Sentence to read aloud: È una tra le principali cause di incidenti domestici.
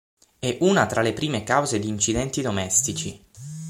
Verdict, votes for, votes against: rejected, 0, 6